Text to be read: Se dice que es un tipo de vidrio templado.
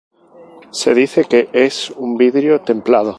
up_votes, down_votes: 0, 2